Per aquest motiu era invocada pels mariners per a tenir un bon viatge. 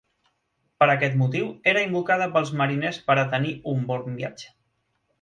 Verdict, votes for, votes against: accepted, 4, 0